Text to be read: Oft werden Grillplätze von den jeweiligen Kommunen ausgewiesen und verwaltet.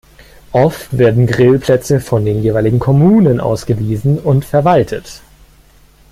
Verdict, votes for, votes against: rejected, 1, 2